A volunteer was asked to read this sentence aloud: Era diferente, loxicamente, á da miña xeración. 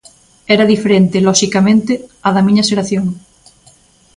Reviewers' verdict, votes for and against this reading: accepted, 2, 0